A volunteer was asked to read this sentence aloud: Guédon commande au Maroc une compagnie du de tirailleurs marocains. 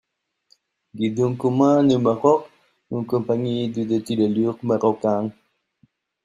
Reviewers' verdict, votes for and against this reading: accepted, 2, 0